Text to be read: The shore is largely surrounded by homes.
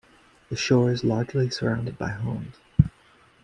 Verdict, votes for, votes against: accepted, 2, 0